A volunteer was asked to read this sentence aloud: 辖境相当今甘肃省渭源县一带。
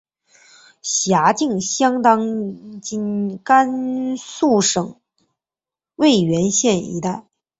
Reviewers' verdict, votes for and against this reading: accepted, 2, 0